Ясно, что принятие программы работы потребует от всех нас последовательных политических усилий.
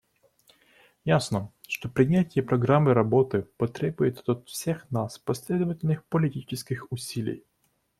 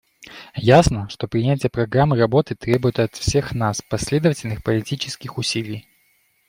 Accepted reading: first